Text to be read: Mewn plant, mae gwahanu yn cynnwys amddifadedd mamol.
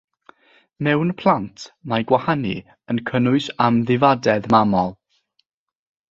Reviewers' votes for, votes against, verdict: 3, 0, accepted